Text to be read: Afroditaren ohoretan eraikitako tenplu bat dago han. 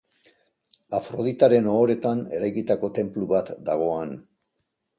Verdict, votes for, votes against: accepted, 2, 0